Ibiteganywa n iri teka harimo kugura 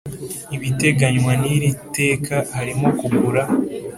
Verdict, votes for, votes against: accepted, 2, 0